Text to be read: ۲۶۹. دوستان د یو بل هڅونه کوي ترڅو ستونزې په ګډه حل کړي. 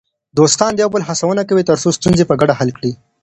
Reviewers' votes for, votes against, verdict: 0, 2, rejected